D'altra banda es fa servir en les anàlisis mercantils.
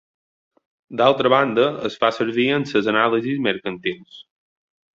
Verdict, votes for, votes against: rejected, 0, 2